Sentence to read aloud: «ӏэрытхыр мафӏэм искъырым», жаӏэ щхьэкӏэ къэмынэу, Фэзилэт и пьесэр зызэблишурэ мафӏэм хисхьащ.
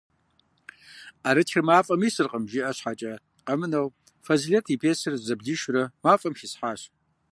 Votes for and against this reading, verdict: 1, 2, rejected